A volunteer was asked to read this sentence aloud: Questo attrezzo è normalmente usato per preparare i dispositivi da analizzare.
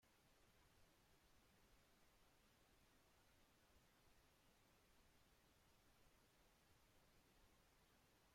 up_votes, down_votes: 0, 2